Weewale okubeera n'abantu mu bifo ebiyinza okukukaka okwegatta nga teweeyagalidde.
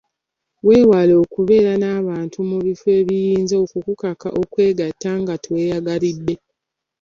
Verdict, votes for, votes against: accepted, 2, 0